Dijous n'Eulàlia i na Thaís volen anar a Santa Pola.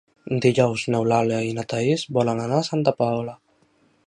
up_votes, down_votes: 0, 2